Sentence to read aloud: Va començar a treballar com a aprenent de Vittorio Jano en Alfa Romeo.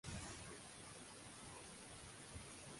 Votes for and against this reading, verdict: 0, 2, rejected